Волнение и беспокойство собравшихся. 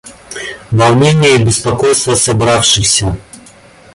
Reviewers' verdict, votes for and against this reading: rejected, 1, 2